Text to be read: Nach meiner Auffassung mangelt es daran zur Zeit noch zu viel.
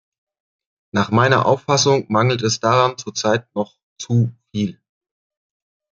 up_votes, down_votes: 2, 0